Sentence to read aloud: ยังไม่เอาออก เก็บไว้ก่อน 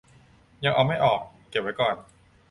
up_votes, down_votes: 0, 2